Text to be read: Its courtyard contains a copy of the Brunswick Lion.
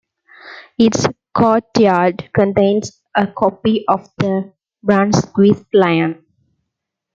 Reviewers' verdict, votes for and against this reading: accepted, 2, 1